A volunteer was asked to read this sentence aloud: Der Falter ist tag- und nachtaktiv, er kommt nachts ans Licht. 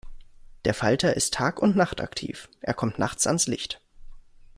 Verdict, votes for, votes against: accepted, 2, 0